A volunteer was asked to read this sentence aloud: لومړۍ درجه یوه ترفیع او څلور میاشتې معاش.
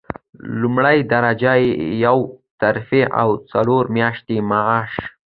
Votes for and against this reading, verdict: 2, 1, accepted